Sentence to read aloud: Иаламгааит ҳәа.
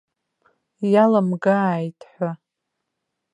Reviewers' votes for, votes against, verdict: 2, 0, accepted